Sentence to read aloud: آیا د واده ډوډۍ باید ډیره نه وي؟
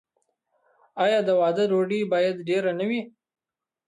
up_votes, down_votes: 0, 2